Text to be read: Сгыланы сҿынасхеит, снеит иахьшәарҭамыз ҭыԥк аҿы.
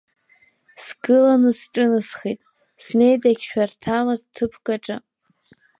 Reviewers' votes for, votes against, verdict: 2, 3, rejected